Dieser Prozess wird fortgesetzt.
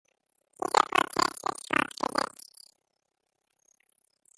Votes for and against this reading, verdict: 0, 2, rejected